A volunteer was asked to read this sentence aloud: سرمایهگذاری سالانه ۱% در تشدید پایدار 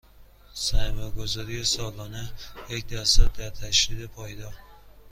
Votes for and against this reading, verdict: 0, 2, rejected